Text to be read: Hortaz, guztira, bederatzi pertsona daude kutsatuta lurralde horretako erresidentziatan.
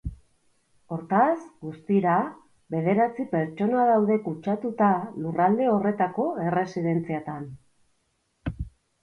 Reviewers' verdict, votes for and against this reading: accepted, 2, 0